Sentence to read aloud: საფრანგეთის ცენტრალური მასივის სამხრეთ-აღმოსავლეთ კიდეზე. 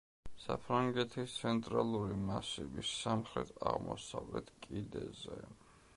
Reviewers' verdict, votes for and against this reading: accepted, 2, 0